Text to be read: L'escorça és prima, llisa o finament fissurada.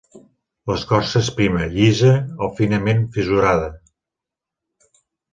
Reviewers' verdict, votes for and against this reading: accepted, 3, 0